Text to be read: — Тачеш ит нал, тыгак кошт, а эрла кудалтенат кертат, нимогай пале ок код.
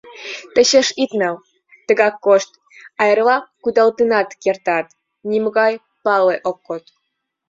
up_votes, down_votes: 2, 1